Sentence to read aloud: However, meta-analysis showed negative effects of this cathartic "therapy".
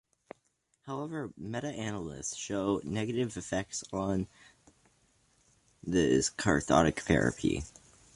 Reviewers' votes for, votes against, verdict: 1, 2, rejected